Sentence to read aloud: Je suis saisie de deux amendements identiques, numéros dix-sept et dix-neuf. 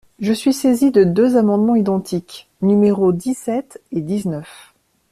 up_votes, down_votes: 2, 0